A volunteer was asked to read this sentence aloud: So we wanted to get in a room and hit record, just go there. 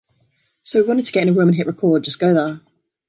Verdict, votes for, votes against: accepted, 2, 1